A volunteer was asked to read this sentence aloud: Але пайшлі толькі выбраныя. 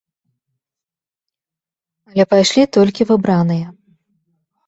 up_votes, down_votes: 1, 2